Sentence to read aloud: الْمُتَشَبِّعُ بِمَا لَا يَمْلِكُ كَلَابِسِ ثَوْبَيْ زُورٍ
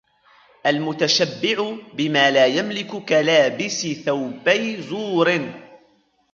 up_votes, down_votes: 2, 0